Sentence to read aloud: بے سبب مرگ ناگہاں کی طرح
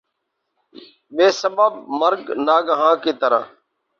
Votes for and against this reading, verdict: 0, 2, rejected